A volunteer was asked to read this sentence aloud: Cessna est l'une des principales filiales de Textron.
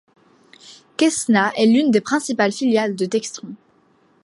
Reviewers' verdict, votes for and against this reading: rejected, 0, 2